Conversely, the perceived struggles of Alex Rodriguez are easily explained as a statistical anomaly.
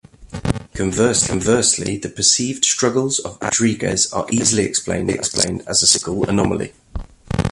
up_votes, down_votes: 0, 2